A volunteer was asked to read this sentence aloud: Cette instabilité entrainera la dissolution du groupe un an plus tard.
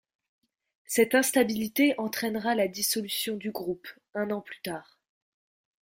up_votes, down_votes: 2, 1